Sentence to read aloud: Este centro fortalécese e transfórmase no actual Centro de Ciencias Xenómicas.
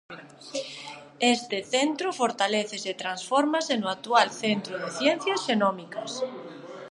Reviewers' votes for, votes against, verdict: 0, 2, rejected